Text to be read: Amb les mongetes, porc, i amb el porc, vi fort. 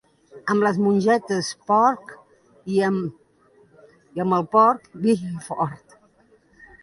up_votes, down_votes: 0, 2